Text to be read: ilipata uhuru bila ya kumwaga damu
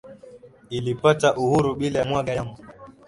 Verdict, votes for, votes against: accepted, 2, 0